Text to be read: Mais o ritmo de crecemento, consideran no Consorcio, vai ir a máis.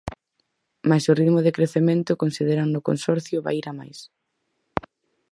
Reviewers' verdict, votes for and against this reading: accepted, 4, 0